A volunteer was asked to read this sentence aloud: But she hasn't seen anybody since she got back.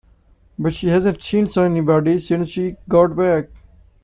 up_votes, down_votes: 0, 2